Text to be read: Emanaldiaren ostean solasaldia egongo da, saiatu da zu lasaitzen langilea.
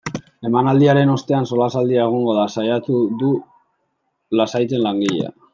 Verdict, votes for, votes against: rejected, 0, 2